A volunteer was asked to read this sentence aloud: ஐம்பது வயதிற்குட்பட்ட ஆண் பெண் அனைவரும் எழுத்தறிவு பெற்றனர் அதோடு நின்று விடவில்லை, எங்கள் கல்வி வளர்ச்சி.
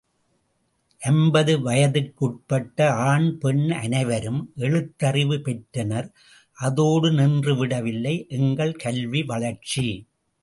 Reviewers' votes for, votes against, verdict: 2, 1, accepted